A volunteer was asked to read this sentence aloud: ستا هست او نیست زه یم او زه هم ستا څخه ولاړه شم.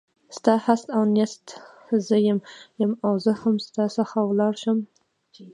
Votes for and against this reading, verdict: 2, 1, accepted